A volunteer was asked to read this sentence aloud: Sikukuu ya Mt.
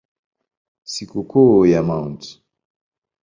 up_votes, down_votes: 3, 0